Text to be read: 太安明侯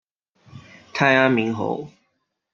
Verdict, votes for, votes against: accepted, 2, 0